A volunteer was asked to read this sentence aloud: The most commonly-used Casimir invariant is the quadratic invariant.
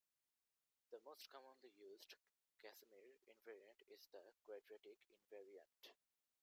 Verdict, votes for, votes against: rejected, 0, 2